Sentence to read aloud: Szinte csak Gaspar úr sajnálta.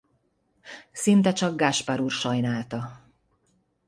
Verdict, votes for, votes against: accepted, 2, 0